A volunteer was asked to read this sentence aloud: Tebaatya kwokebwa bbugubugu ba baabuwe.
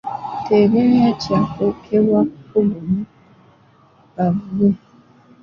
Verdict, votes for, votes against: rejected, 0, 2